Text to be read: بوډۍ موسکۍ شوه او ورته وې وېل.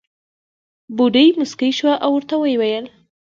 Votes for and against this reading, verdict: 0, 2, rejected